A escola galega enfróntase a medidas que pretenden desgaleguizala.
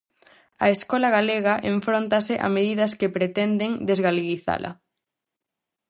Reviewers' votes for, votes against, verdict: 4, 0, accepted